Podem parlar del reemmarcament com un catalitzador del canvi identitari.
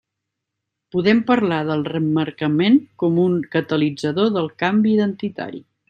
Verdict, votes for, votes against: rejected, 1, 2